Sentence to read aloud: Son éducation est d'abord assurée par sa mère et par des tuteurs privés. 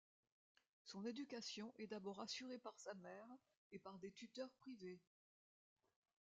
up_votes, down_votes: 0, 2